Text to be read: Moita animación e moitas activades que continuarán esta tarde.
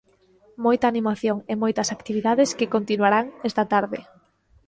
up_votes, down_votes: 2, 0